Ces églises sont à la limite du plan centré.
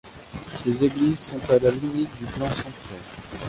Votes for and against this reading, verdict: 2, 0, accepted